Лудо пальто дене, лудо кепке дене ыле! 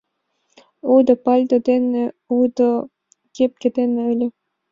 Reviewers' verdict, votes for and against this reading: accepted, 2, 0